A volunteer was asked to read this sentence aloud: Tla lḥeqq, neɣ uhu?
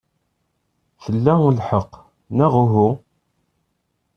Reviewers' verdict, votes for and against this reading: accepted, 2, 0